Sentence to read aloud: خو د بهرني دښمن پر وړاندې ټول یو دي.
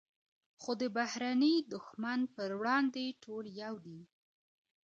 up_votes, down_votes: 2, 1